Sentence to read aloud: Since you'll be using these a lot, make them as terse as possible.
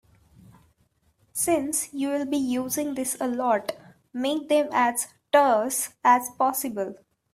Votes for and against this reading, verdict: 1, 2, rejected